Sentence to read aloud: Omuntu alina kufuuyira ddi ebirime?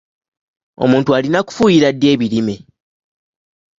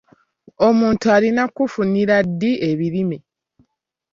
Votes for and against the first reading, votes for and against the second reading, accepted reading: 2, 0, 0, 2, first